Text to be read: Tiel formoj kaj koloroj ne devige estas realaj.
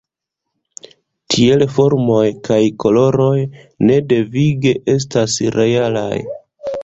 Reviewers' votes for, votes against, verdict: 1, 2, rejected